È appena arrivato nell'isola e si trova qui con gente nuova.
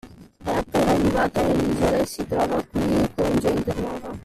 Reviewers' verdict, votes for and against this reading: rejected, 0, 2